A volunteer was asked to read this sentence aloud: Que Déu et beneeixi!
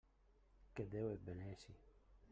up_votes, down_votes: 0, 2